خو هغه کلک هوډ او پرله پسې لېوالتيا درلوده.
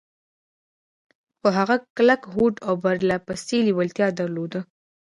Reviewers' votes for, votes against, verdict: 2, 0, accepted